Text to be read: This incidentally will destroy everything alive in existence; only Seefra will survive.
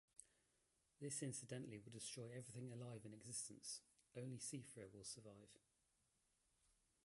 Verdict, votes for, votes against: rejected, 0, 2